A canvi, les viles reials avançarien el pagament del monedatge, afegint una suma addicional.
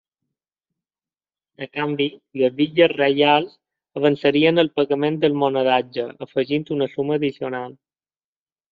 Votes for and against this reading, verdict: 2, 0, accepted